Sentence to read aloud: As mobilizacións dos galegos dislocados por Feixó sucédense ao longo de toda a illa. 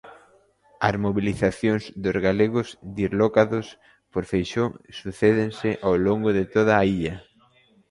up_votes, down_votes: 0, 2